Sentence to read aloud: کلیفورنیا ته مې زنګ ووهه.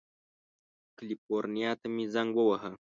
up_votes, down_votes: 2, 0